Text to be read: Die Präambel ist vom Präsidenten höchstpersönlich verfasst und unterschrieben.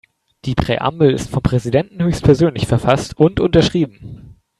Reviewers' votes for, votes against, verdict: 3, 1, accepted